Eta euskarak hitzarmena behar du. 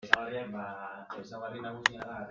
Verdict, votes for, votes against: rejected, 0, 3